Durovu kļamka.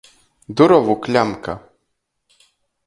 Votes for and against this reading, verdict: 2, 0, accepted